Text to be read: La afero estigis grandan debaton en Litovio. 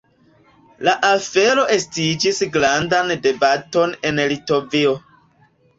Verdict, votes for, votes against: rejected, 0, 2